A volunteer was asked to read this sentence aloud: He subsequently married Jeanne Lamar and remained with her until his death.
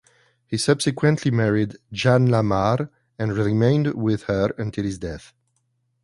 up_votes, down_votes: 2, 0